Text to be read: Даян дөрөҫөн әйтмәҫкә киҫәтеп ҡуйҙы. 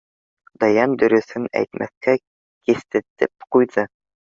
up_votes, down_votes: 0, 2